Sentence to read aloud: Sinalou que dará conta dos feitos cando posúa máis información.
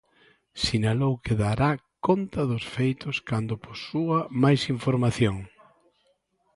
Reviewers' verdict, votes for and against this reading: accepted, 2, 1